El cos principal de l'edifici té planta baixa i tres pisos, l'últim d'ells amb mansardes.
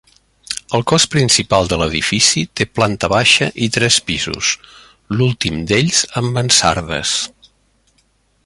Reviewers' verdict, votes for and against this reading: rejected, 1, 2